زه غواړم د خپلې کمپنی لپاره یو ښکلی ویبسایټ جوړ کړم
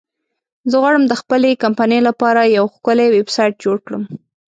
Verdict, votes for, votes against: accepted, 2, 0